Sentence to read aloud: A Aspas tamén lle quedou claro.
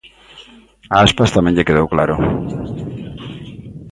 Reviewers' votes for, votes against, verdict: 3, 0, accepted